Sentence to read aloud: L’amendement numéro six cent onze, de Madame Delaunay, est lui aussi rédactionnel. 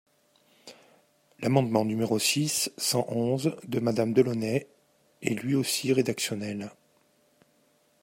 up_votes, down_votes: 2, 0